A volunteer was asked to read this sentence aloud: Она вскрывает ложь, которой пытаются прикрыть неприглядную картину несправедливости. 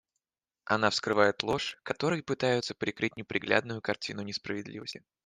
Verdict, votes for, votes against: accepted, 2, 0